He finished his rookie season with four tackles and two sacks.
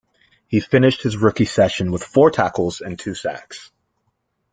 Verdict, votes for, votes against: rejected, 1, 2